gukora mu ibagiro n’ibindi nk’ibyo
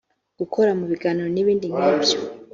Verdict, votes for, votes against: accepted, 3, 0